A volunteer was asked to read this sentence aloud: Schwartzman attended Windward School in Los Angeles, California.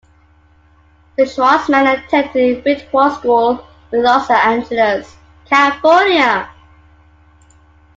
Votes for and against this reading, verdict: 0, 2, rejected